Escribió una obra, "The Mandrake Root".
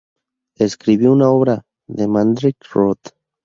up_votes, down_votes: 4, 2